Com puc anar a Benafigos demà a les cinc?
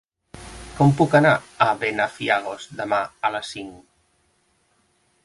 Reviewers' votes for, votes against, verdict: 0, 2, rejected